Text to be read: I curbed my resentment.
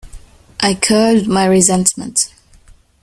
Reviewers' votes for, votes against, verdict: 1, 2, rejected